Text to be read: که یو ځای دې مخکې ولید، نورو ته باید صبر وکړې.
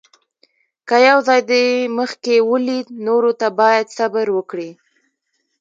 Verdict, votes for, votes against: rejected, 1, 2